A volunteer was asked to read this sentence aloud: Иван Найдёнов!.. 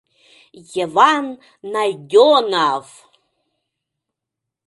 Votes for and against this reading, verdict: 0, 2, rejected